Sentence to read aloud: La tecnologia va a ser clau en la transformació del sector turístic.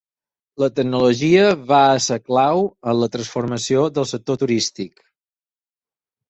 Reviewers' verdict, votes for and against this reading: accepted, 4, 0